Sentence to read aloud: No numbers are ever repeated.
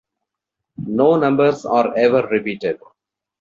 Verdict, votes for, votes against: accepted, 2, 0